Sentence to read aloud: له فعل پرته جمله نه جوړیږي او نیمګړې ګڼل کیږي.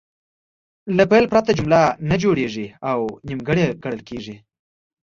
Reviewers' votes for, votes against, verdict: 2, 0, accepted